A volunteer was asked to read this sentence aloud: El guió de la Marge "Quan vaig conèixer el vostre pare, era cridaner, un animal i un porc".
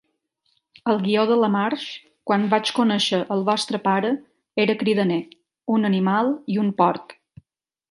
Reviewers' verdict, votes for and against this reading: accepted, 2, 0